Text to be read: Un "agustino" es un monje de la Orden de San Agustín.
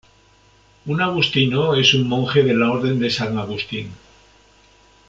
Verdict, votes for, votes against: rejected, 0, 2